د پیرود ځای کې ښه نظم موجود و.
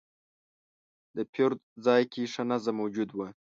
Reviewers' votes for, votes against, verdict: 2, 0, accepted